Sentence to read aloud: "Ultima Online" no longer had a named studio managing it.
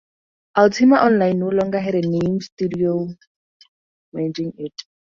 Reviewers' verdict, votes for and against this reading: rejected, 2, 2